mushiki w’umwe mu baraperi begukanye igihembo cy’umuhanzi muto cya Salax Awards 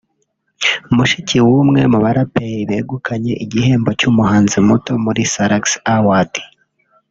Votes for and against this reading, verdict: 0, 2, rejected